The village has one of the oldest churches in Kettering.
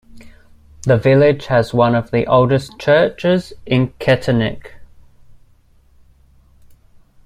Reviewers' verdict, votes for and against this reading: rejected, 1, 2